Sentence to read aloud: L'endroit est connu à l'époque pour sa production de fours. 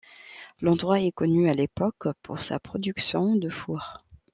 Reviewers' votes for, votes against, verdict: 2, 0, accepted